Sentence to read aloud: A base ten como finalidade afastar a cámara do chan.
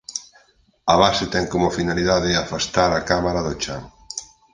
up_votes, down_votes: 4, 0